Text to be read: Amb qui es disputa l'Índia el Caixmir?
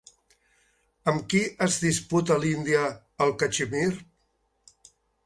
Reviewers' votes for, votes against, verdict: 0, 3, rejected